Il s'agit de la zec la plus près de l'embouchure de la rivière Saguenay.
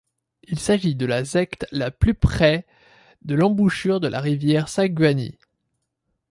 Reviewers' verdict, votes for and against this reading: rejected, 0, 2